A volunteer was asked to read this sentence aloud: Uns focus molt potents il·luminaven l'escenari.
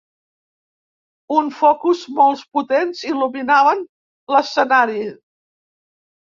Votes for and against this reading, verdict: 1, 2, rejected